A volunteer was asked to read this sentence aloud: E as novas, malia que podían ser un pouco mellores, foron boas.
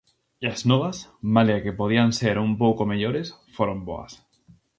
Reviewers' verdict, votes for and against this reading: accepted, 4, 0